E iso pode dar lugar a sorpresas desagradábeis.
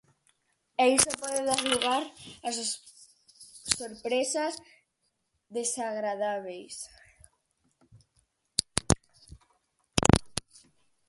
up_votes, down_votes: 0, 4